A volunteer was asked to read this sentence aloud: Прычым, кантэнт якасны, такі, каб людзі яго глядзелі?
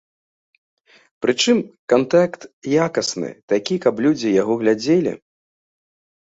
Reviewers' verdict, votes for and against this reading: rejected, 1, 2